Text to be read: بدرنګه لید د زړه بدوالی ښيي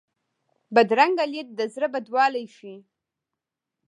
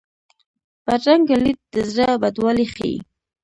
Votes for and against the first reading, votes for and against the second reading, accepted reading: 2, 0, 1, 2, first